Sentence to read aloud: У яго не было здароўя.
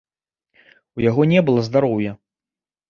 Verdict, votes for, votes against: rejected, 1, 2